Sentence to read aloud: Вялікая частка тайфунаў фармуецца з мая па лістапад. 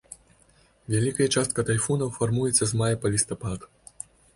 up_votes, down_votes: 2, 0